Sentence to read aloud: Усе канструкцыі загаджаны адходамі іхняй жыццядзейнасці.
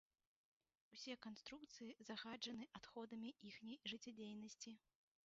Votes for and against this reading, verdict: 1, 3, rejected